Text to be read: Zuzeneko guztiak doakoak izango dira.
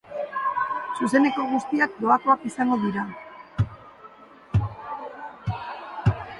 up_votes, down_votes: 0, 4